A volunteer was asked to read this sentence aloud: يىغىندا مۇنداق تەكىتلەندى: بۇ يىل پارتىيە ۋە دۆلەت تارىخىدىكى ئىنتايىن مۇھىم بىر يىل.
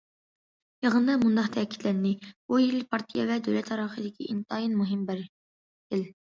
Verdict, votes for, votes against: accepted, 2, 1